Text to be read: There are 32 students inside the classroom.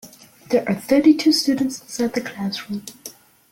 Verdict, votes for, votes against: rejected, 0, 2